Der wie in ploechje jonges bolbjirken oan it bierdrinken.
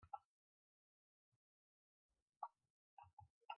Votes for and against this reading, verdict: 0, 2, rejected